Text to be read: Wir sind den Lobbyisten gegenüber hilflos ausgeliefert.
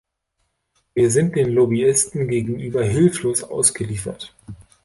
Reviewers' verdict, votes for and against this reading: accepted, 2, 0